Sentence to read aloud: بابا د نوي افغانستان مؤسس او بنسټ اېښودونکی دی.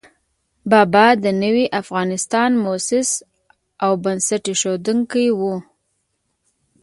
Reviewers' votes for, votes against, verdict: 0, 2, rejected